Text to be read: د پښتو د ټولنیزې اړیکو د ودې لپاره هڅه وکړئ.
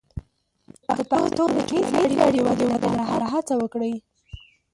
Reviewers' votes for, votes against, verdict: 0, 2, rejected